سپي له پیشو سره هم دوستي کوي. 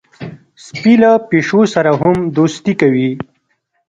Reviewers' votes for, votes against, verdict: 2, 0, accepted